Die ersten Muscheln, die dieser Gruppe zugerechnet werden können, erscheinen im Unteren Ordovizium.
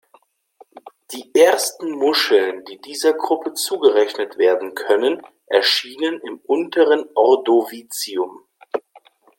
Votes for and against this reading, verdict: 0, 2, rejected